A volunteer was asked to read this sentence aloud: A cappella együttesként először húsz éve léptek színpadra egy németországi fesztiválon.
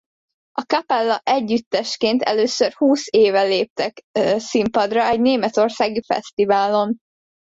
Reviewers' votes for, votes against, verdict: 0, 2, rejected